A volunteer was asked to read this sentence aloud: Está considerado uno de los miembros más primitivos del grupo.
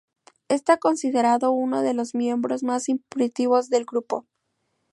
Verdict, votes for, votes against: rejected, 0, 2